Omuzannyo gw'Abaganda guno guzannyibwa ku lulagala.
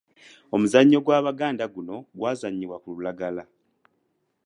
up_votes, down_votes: 1, 2